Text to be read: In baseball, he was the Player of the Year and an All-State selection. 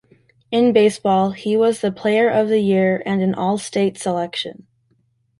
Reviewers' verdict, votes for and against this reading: accepted, 2, 0